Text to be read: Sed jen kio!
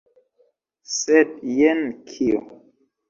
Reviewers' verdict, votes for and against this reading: accepted, 2, 0